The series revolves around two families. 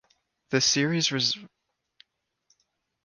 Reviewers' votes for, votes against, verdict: 0, 2, rejected